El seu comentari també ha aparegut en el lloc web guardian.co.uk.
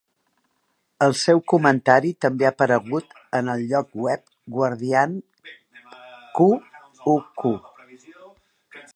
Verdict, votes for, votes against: rejected, 1, 2